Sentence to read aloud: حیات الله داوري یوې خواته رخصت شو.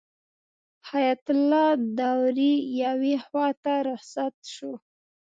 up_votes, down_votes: 2, 0